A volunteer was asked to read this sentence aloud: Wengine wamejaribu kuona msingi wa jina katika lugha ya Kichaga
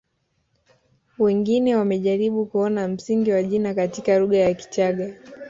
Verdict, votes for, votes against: rejected, 0, 2